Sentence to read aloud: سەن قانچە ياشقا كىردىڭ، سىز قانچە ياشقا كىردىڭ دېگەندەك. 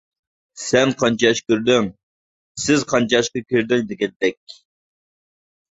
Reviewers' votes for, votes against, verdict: 0, 2, rejected